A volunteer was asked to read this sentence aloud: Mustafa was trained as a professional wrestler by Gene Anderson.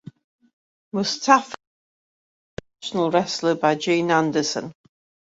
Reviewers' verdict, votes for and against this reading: rejected, 1, 2